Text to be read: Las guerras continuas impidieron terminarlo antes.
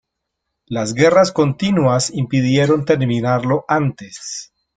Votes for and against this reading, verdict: 2, 0, accepted